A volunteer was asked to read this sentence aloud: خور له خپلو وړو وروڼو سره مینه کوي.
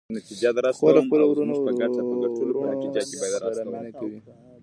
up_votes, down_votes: 1, 2